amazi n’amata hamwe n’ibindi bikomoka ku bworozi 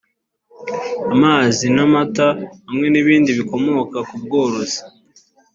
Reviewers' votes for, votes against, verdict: 3, 0, accepted